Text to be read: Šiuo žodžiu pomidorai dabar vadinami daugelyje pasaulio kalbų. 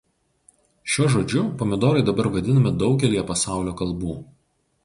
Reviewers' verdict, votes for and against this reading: accepted, 4, 0